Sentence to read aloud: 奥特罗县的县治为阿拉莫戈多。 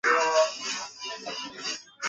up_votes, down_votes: 1, 2